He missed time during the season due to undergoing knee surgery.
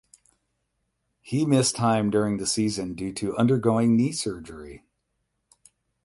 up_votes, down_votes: 8, 0